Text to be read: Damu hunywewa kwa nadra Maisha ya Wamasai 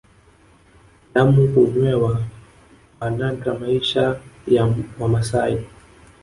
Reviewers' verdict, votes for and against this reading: rejected, 1, 2